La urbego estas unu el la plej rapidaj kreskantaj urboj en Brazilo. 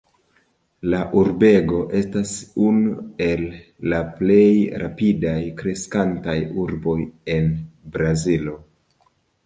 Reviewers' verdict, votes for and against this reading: accepted, 2, 0